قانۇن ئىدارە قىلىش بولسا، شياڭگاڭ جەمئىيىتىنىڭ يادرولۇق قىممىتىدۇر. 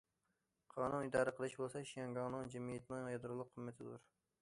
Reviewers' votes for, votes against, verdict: 0, 2, rejected